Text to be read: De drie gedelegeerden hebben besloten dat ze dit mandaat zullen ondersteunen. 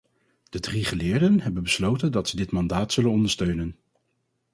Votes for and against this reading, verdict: 2, 4, rejected